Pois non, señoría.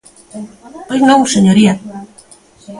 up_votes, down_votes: 1, 2